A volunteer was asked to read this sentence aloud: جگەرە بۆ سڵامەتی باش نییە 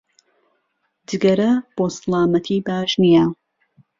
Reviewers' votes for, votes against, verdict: 2, 0, accepted